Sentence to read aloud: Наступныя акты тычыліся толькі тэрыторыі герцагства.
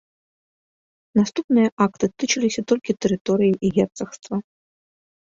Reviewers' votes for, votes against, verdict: 0, 2, rejected